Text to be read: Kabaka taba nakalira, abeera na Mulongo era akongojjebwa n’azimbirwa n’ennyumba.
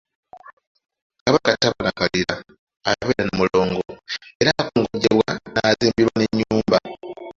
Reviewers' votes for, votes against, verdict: 2, 1, accepted